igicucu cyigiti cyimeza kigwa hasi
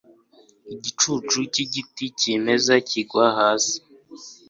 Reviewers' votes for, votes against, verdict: 2, 0, accepted